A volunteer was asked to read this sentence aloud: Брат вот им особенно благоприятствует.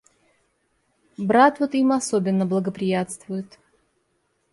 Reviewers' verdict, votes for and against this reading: accepted, 2, 0